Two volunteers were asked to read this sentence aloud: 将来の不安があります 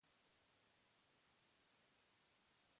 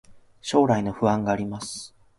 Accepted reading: second